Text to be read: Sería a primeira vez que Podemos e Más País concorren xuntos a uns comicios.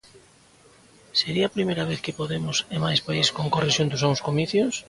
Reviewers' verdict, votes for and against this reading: rejected, 1, 2